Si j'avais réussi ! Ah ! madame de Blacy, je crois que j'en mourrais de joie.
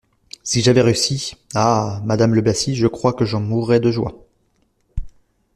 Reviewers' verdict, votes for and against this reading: rejected, 1, 2